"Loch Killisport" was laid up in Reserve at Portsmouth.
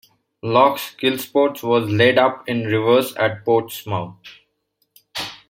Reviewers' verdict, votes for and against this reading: accepted, 2, 1